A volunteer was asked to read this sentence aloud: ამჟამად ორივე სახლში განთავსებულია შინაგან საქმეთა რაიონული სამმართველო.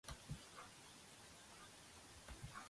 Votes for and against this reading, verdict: 0, 2, rejected